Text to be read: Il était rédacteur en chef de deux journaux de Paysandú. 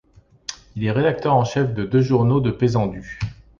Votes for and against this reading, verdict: 1, 2, rejected